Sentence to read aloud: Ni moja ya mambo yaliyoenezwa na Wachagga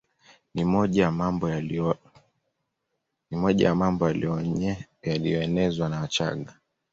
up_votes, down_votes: 1, 2